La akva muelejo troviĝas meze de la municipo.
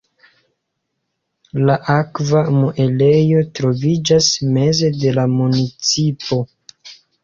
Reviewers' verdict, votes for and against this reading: accepted, 2, 0